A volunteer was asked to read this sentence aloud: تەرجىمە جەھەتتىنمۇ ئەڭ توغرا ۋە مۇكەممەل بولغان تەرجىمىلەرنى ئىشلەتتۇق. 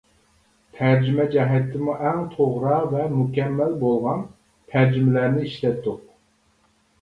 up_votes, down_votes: 1, 2